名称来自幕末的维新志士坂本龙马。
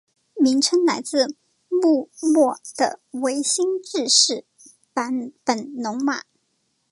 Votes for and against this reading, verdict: 2, 0, accepted